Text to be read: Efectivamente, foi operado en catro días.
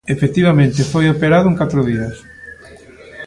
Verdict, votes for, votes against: rejected, 1, 2